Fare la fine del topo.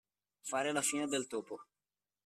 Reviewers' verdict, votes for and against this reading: accepted, 2, 0